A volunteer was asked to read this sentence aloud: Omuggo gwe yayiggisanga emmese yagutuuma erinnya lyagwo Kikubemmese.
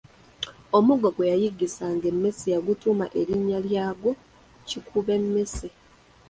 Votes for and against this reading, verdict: 1, 2, rejected